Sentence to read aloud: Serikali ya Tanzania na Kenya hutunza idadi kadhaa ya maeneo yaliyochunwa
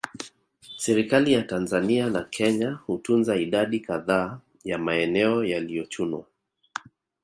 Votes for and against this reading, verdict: 1, 2, rejected